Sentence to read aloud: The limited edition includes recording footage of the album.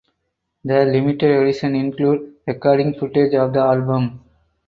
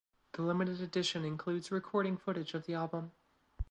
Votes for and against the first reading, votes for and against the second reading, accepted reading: 2, 4, 2, 0, second